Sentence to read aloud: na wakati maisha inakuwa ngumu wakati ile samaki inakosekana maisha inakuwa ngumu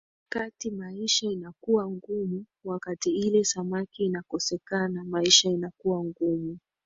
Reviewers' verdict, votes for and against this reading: accepted, 3, 0